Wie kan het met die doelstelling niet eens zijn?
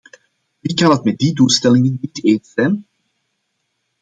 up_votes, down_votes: 1, 2